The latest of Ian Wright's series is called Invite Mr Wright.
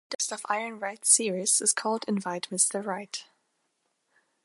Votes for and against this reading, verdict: 1, 2, rejected